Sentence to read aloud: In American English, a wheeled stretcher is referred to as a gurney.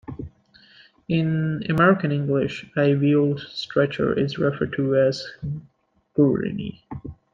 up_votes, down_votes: 2, 1